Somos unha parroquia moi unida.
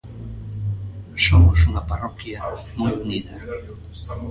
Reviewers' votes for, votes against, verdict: 0, 2, rejected